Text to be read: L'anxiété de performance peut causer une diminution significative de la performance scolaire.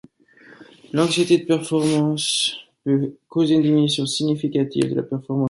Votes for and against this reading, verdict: 0, 2, rejected